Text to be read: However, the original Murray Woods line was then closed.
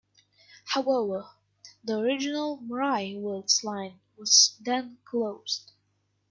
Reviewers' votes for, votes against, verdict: 0, 2, rejected